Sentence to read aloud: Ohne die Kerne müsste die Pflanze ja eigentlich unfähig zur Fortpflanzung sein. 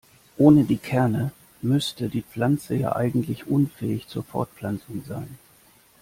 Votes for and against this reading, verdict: 3, 0, accepted